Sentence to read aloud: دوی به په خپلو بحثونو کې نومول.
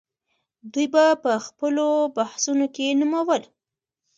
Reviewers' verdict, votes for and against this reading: rejected, 0, 2